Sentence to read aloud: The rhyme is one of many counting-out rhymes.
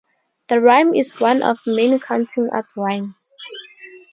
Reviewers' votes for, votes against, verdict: 2, 0, accepted